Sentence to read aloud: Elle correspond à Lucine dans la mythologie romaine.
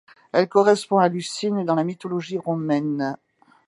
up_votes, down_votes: 2, 0